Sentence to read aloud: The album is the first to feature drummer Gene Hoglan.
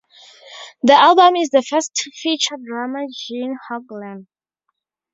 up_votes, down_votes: 0, 2